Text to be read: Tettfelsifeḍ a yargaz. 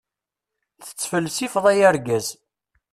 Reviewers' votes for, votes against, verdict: 2, 0, accepted